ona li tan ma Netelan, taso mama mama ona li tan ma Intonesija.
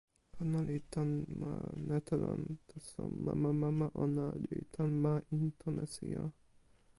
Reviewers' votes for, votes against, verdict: 0, 2, rejected